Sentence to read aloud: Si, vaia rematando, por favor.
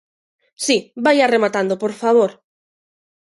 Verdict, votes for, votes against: accepted, 2, 0